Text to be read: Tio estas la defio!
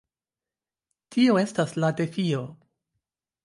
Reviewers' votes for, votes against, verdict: 2, 0, accepted